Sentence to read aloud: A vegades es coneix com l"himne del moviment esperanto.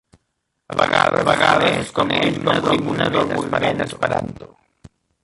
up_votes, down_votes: 0, 2